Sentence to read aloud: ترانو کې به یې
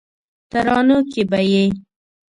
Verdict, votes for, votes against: accepted, 2, 0